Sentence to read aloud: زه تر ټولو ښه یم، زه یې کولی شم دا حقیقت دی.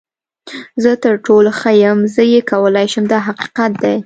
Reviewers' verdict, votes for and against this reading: rejected, 0, 2